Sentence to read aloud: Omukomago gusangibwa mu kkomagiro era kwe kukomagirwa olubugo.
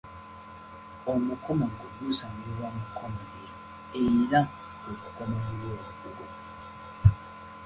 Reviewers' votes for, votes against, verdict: 1, 2, rejected